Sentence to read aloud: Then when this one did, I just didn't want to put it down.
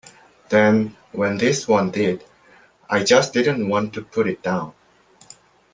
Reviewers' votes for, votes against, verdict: 2, 0, accepted